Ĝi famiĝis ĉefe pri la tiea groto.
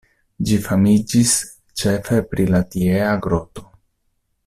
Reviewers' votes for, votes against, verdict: 2, 0, accepted